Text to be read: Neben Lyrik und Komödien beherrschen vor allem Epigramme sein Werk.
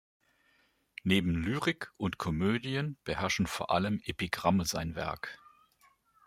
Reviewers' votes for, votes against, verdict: 2, 0, accepted